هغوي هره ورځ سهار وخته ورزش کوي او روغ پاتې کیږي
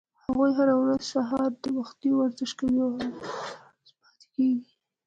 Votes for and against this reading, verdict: 1, 2, rejected